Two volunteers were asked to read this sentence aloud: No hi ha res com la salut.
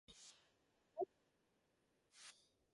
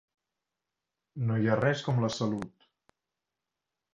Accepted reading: second